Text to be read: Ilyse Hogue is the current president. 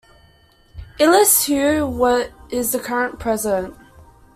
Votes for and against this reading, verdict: 2, 1, accepted